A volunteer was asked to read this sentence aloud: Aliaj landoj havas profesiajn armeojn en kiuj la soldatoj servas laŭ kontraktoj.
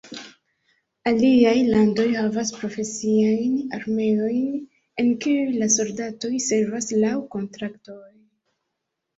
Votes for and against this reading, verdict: 1, 2, rejected